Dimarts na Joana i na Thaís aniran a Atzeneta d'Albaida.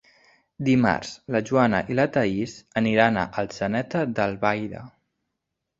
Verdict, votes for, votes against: rejected, 1, 2